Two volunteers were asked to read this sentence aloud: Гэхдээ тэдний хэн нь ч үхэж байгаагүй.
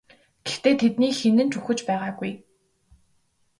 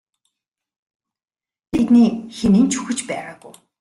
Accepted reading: first